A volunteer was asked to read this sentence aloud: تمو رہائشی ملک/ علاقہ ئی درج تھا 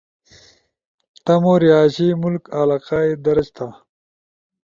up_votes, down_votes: 2, 0